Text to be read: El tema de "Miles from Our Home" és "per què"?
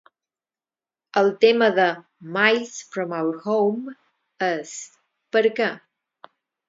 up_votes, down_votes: 4, 2